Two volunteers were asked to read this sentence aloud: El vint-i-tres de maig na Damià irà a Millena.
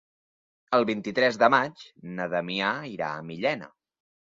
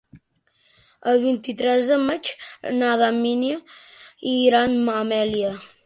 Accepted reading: first